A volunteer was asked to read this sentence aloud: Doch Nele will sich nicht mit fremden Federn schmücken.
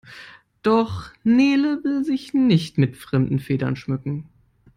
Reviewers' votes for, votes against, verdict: 2, 0, accepted